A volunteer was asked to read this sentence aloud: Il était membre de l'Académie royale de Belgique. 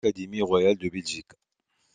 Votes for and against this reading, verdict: 0, 2, rejected